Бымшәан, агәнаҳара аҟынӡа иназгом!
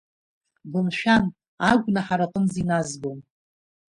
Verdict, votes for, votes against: accepted, 2, 0